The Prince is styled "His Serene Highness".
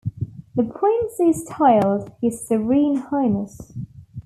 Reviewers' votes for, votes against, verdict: 2, 0, accepted